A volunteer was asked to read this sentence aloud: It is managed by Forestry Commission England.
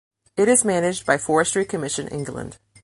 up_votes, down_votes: 2, 0